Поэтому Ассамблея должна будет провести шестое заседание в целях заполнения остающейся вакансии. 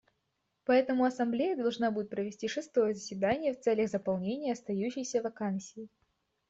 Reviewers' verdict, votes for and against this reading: accepted, 2, 0